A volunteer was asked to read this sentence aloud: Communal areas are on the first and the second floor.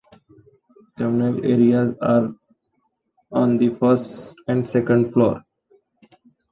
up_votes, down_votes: 2, 1